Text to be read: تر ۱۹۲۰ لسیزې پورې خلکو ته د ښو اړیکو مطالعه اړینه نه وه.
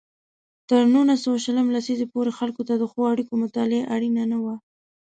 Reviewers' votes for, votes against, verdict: 0, 2, rejected